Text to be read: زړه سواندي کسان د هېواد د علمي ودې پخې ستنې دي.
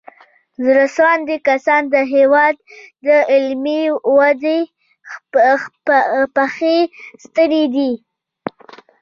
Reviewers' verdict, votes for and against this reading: rejected, 0, 2